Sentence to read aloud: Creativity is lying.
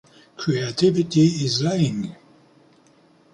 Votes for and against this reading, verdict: 2, 0, accepted